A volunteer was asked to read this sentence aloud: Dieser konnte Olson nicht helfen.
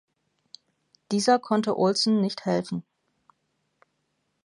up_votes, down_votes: 2, 0